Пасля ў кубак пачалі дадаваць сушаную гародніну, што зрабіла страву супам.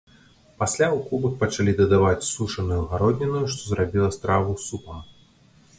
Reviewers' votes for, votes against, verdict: 1, 2, rejected